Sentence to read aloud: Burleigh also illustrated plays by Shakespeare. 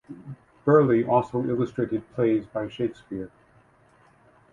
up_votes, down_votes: 2, 0